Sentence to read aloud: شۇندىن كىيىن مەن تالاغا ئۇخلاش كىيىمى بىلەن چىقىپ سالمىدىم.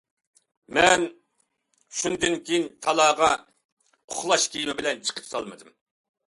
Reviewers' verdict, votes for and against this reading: rejected, 0, 2